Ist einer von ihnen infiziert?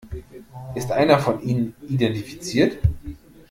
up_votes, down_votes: 0, 2